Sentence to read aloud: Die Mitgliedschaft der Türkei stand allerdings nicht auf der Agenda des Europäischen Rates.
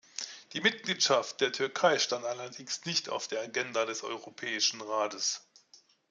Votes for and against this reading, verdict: 2, 0, accepted